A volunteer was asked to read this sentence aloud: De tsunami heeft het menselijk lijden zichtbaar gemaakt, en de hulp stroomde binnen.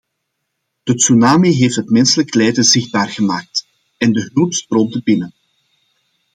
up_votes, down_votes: 2, 0